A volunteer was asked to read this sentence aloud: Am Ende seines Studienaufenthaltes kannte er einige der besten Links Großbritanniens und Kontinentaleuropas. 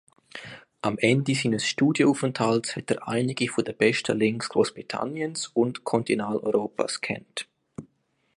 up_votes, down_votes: 1, 3